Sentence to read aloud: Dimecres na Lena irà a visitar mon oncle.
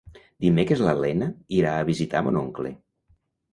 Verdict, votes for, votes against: rejected, 1, 2